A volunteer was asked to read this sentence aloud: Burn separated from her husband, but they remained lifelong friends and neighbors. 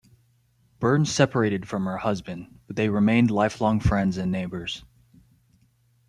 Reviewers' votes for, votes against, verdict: 2, 0, accepted